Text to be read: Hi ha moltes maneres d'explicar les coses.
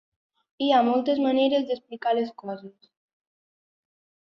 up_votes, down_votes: 3, 0